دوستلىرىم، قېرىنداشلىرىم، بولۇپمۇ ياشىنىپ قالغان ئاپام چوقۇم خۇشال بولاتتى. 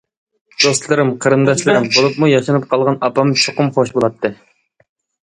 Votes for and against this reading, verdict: 1, 2, rejected